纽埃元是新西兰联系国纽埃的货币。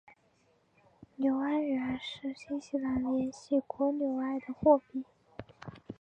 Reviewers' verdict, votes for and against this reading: accepted, 2, 1